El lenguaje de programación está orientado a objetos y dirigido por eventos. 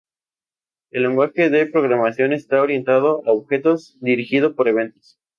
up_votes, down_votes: 0, 2